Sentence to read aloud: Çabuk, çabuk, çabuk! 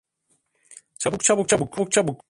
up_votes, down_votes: 0, 2